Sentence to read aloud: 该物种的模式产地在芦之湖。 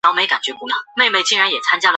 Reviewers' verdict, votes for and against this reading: rejected, 0, 5